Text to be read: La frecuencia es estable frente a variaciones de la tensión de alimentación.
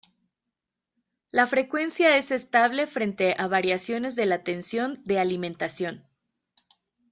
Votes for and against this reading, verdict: 1, 2, rejected